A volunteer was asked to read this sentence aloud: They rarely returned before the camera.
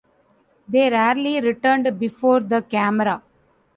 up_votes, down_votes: 2, 1